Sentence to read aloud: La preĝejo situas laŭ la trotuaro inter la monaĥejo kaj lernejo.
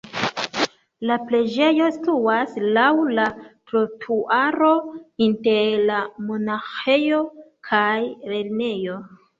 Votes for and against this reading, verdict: 1, 2, rejected